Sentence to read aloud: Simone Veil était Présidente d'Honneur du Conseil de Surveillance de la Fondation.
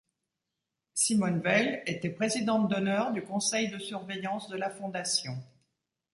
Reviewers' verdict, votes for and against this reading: accepted, 2, 0